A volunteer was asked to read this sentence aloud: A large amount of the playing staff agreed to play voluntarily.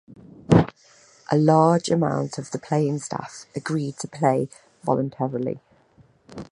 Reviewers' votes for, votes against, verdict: 2, 1, accepted